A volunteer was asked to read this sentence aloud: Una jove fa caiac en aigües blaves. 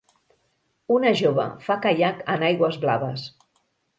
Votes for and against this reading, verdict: 2, 0, accepted